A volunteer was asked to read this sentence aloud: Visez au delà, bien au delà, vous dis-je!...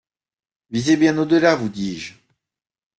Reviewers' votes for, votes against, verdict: 0, 2, rejected